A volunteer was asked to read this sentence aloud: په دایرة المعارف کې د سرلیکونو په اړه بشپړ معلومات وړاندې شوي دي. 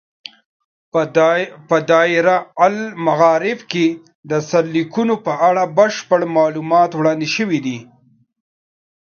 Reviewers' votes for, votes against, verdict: 1, 2, rejected